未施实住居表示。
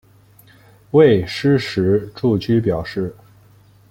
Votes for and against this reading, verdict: 2, 0, accepted